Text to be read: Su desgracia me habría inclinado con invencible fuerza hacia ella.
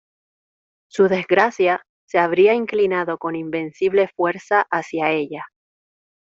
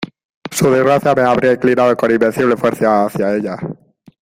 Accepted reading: second